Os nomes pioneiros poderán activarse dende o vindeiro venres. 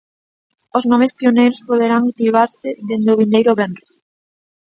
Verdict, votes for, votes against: accepted, 2, 1